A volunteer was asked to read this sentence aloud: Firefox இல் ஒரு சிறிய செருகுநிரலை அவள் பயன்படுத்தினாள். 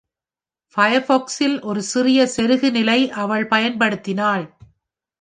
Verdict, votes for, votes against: rejected, 0, 2